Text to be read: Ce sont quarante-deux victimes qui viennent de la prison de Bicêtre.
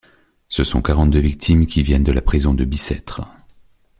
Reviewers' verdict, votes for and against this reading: accepted, 2, 0